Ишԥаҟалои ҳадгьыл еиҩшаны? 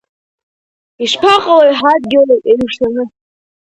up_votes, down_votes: 2, 1